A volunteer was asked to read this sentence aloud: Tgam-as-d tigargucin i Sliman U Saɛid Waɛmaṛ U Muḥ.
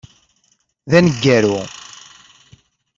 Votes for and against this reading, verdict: 0, 2, rejected